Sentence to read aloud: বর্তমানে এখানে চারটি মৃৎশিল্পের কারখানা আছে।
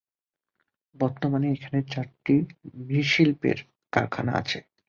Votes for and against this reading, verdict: 0, 2, rejected